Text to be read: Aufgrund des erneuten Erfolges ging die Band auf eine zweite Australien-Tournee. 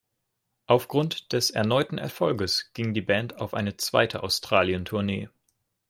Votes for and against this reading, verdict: 2, 0, accepted